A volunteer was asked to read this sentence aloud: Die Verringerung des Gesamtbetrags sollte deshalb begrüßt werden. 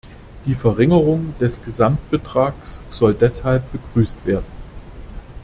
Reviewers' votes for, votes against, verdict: 0, 2, rejected